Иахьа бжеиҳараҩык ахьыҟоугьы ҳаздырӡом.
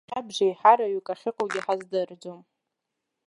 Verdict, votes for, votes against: rejected, 2, 3